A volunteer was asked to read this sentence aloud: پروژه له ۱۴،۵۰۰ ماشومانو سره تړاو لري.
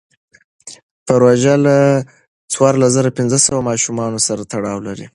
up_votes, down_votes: 0, 2